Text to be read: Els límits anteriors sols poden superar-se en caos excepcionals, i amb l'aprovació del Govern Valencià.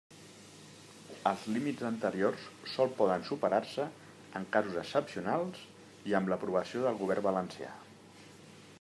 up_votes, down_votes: 1, 2